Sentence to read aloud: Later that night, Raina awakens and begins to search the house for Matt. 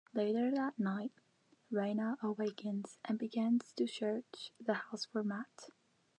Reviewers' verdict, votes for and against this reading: rejected, 0, 2